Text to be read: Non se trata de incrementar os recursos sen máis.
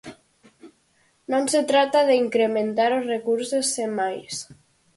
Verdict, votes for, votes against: accepted, 4, 0